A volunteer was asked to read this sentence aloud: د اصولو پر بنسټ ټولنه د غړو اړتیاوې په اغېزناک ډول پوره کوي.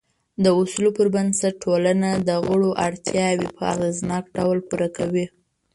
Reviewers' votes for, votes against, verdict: 1, 2, rejected